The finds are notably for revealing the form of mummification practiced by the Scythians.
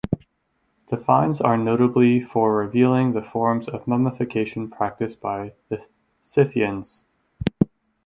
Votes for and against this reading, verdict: 0, 4, rejected